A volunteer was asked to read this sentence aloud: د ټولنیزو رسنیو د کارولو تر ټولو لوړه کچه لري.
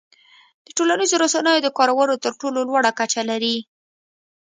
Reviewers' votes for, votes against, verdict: 2, 0, accepted